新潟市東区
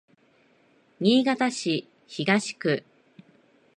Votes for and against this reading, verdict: 2, 0, accepted